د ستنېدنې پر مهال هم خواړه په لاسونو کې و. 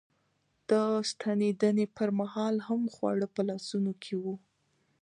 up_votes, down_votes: 2, 0